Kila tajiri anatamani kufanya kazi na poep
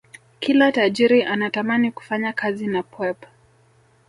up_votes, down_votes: 2, 3